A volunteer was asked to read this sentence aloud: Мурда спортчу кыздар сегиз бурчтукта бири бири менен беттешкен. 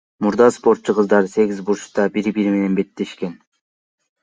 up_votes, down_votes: 2, 0